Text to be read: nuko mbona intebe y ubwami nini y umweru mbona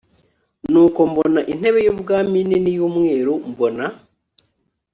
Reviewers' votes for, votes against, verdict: 3, 0, accepted